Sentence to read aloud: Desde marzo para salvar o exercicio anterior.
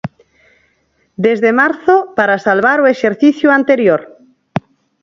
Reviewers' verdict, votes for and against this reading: accepted, 4, 0